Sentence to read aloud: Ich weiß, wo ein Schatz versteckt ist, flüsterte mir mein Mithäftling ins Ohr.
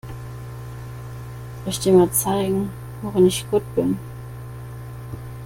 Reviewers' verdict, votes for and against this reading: rejected, 0, 2